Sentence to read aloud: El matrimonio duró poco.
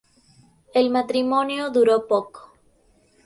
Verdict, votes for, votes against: accepted, 2, 0